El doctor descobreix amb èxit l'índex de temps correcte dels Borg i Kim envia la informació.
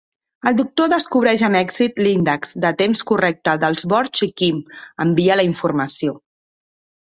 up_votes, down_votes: 3, 0